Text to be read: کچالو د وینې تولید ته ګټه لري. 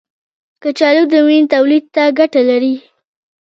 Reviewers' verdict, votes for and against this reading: rejected, 1, 2